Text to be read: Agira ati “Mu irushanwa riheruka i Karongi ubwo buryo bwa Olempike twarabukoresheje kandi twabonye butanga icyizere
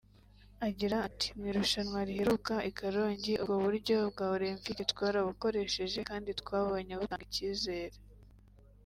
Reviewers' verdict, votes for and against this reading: rejected, 1, 2